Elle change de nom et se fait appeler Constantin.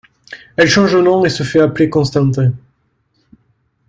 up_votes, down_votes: 2, 0